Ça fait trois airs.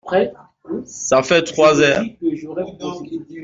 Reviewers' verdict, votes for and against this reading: rejected, 0, 2